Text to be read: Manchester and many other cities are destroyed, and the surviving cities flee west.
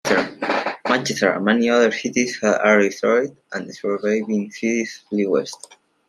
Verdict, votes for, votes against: rejected, 0, 2